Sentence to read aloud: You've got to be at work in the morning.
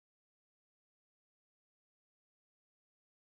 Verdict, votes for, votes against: rejected, 0, 3